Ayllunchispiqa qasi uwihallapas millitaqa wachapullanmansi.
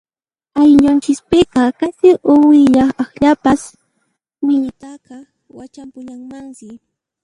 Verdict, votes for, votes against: rejected, 0, 2